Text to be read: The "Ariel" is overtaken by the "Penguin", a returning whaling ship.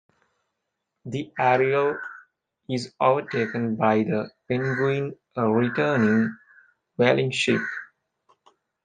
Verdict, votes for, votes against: accepted, 2, 0